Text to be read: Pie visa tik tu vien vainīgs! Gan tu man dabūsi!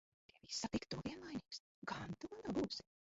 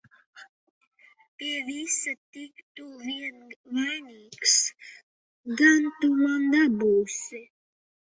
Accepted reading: second